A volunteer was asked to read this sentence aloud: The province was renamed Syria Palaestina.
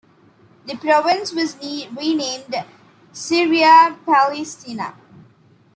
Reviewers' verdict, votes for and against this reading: rejected, 0, 2